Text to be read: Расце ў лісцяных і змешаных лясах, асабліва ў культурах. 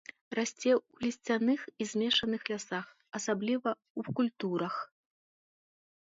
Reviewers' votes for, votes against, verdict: 0, 2, rejected